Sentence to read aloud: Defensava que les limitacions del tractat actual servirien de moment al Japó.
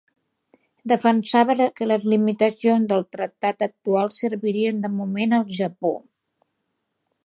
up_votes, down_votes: 3, 1